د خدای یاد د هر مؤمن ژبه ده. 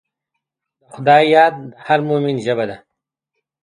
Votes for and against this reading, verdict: 2, 0, accepted